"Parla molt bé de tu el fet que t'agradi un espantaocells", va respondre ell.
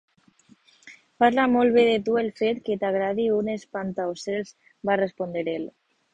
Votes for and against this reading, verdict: 0, 2, rejected